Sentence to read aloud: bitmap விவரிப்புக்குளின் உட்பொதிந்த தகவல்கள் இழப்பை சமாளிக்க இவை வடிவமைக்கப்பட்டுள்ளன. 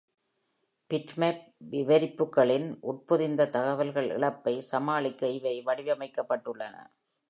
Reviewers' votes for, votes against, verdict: 2, 0, accepted